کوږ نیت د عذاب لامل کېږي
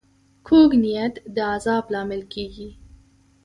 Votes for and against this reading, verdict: 2, 0, accepted